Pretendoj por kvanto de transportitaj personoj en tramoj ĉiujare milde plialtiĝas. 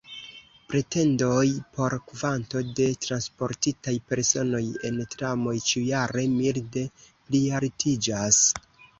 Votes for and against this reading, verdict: 0, 2, rejected